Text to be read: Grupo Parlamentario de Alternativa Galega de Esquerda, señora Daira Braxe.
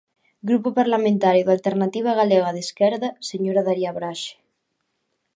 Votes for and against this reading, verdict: 1, 2, rejected